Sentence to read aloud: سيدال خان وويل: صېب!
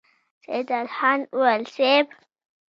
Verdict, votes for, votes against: accepted, 2, 0